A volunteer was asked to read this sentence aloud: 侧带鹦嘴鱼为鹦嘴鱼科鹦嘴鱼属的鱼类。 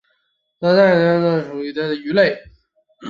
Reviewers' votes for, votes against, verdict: 0, 7, rejected